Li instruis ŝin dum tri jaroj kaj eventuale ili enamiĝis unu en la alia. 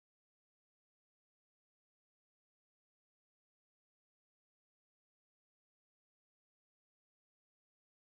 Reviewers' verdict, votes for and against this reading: rejected, 1, 4